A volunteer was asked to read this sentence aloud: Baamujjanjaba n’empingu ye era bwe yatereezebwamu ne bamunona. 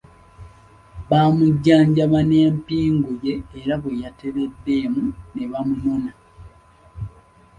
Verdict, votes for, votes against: rejected, 1, 2